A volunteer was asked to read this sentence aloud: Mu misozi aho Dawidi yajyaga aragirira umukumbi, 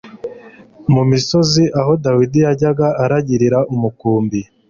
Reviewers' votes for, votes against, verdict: 2, 0, accepted